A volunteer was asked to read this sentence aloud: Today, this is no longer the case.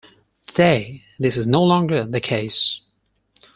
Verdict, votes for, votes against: accepted, 4, 0